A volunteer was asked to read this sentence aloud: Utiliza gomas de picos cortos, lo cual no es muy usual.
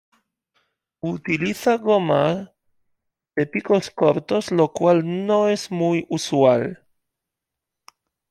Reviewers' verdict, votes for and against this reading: accepted, 2, 1